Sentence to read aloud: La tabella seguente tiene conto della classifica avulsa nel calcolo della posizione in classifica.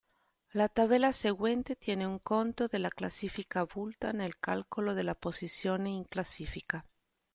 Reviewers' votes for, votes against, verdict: 1, 2, rejected